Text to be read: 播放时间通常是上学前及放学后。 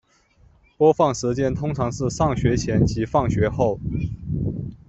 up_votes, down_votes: 2, 0